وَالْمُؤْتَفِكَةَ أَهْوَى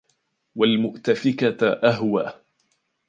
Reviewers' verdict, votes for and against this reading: accepted, 2, 0